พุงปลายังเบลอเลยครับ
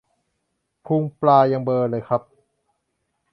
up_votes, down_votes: 2, 0